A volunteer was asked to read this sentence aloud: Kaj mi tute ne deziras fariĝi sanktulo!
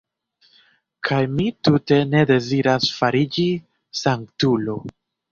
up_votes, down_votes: 2, 0